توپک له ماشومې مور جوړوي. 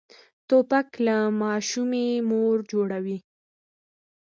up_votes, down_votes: 1, 2